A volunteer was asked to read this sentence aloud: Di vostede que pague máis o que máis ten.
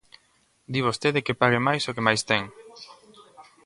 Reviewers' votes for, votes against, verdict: 0, 2, rejected